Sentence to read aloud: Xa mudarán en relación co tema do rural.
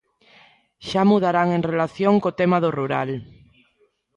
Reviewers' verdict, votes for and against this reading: accepted, 2, 0